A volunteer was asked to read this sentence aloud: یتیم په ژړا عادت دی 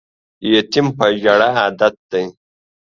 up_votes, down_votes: 2, 0